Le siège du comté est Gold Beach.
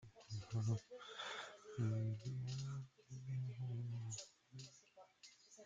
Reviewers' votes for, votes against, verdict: 0, 2, rejected